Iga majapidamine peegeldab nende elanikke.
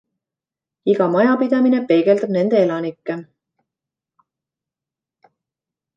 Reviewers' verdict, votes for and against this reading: accepted, 2, 0